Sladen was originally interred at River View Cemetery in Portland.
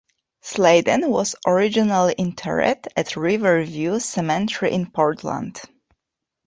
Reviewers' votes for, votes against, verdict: 0, 2, rejected